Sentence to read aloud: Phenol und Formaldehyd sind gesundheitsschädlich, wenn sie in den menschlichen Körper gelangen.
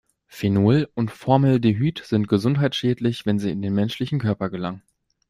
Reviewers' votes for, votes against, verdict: 1, 2, rejected